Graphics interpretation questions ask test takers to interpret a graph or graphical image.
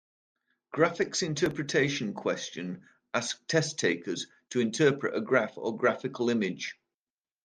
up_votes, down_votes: 0, 2